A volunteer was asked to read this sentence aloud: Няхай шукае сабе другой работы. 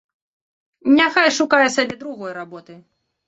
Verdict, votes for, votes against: accepted, 2, 0